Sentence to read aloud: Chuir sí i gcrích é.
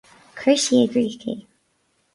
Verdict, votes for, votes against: accepted, 4, 0